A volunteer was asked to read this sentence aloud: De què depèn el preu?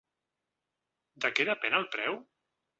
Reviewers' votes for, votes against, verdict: 2, 0, accepted